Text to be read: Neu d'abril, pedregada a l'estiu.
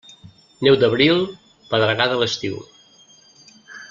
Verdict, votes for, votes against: accepted, 2, 0